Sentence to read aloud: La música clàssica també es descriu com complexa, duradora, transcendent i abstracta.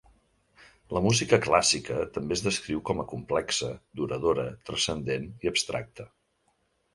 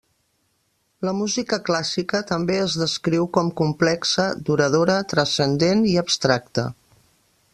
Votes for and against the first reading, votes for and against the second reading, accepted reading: 1, 2, 3, 0, second